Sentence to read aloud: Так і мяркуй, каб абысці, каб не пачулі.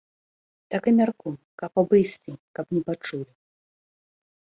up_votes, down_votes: 0, 2